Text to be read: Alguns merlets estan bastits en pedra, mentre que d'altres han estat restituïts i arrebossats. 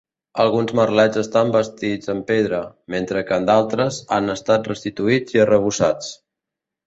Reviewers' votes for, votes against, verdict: 1, 2, rejected